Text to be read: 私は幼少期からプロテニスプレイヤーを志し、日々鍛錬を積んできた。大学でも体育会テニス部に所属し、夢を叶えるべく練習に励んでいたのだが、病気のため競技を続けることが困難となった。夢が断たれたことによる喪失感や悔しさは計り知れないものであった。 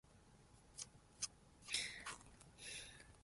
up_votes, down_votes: 0, 2